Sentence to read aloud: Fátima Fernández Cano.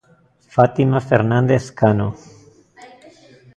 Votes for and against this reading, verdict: 0, 2, rejected